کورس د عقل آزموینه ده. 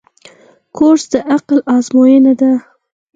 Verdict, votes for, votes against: accepted, 4, 0